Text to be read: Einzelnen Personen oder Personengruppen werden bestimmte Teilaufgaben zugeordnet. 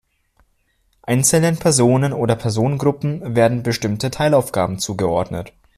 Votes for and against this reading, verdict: 2, 0, accepted